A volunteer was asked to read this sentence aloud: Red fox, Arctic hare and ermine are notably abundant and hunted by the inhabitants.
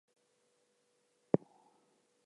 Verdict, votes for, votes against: rejected, 0, 4